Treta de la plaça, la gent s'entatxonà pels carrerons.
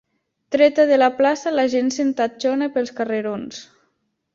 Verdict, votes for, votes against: rejected, 1, 2